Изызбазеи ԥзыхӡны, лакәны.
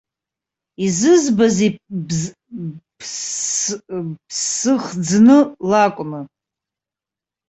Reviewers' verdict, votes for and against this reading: rejected, 0, 2